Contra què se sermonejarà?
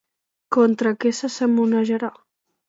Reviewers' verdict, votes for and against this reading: accepted, 3, 1